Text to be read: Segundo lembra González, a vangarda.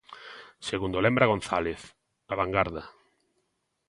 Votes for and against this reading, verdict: 2, 0, accepted